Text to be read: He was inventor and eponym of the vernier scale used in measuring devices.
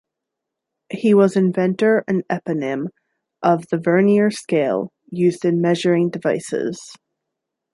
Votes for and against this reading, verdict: 2, 0, accepted